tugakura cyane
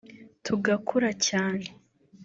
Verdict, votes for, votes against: accepted, 2, 0